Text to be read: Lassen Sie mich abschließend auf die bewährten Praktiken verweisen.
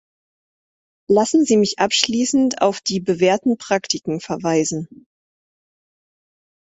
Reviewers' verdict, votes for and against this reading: accepted, 2, 0